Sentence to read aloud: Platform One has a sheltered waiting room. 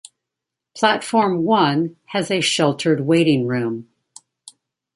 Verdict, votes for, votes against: accepted, 2, 0